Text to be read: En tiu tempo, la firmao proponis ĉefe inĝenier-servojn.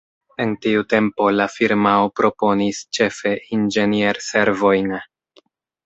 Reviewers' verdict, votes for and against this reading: accepted, 2, 0